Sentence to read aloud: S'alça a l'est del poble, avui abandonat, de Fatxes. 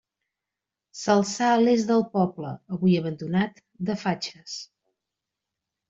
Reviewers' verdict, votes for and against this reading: rejected, 0, 2